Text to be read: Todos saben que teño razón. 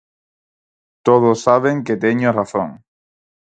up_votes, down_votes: 4, 0